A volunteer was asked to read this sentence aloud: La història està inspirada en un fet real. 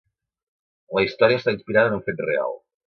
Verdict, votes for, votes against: accepted, 2, 0